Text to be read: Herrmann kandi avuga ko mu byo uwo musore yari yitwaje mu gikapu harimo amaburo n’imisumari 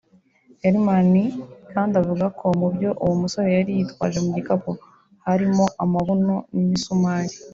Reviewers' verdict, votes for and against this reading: rejected, 1, 4